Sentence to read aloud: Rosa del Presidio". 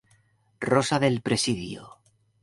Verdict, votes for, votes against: accepted, 2, 0